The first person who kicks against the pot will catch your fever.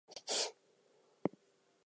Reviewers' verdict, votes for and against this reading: rejected, 0, 2